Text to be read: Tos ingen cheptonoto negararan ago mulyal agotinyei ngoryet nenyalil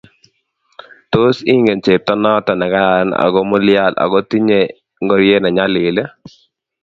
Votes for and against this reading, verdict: 2, 0, accepted